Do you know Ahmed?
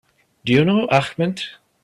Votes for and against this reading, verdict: 1, 2, rejected